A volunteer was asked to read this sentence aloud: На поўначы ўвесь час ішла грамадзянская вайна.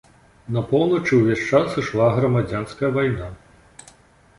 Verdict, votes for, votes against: accepted, 2, 0